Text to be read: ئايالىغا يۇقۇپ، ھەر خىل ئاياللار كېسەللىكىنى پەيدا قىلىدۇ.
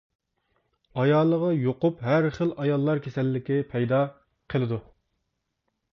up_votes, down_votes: 0, 2